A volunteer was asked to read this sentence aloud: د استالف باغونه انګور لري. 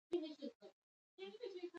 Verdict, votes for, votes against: rejected, 1, 2